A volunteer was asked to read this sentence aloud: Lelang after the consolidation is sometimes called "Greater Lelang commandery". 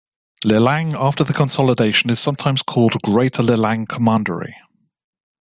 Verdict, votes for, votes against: accepted, 2, 1